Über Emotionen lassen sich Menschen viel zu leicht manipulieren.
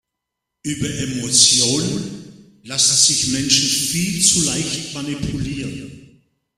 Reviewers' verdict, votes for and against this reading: accepted, 2, 0